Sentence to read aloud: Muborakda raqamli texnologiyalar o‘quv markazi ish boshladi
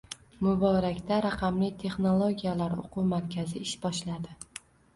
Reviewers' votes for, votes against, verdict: 1, 2, rejected